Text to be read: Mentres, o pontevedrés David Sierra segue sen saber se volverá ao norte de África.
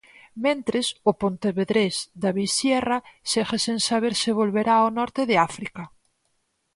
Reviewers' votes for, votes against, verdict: 4, 0, accepted